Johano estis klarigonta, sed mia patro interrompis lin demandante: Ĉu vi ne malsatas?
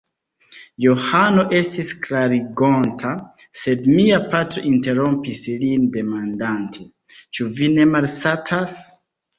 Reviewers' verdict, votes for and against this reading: accepted, 2, 1